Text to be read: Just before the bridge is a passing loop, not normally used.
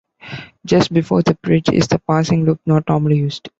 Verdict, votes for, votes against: rejected, 1, 2